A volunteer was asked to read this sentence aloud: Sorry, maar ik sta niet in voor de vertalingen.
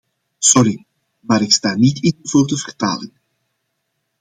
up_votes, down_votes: 2, 0